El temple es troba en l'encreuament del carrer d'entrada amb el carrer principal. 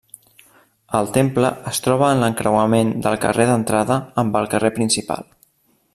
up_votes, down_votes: 3, 0